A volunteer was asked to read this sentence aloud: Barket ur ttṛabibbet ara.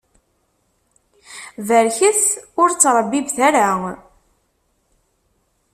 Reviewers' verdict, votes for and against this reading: rejected, 1, 2